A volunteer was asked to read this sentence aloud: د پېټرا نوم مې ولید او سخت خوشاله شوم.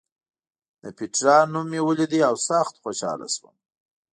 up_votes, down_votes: 2, 0